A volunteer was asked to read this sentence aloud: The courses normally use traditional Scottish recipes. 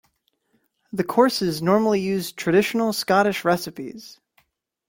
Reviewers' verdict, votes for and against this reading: accepted, 2, 0